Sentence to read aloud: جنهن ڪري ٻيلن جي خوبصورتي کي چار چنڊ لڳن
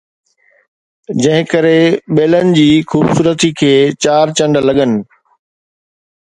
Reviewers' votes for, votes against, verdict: 2, 0, accepted